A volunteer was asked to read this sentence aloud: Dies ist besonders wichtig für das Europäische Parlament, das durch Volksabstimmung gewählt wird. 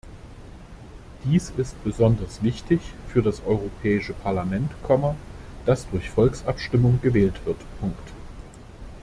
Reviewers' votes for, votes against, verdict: 0, 2, rejected